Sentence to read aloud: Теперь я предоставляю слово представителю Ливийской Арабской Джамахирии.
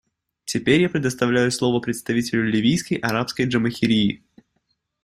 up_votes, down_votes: 2, 0